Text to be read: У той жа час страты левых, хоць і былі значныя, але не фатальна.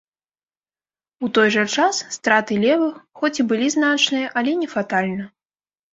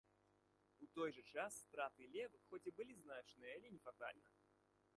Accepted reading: first